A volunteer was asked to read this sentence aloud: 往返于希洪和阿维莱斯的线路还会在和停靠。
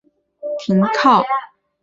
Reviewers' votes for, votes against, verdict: 1, 4, rejected